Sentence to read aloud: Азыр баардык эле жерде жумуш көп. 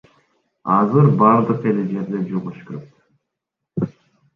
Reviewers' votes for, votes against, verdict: 1, 2, rejected